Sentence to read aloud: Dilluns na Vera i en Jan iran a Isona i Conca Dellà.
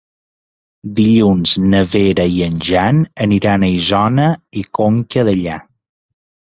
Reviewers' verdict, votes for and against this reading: rejected, 0, 2